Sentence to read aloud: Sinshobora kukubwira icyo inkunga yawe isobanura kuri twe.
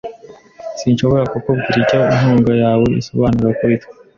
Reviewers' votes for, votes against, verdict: 2, 0, accepted